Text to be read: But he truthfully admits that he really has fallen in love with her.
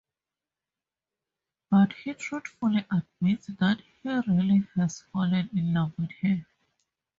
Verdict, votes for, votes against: accepted, 2, 0